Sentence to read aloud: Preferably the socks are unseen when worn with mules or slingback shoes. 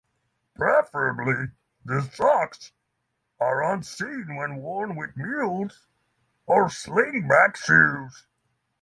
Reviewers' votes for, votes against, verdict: 3, 3, rejected